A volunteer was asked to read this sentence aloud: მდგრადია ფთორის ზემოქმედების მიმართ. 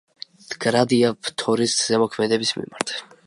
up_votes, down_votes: 2, 0